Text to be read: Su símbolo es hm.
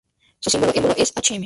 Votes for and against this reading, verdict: 0, 2, rejected